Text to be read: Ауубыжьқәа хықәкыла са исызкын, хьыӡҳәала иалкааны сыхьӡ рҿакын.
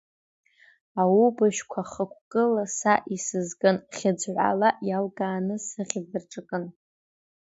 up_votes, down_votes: 0, 2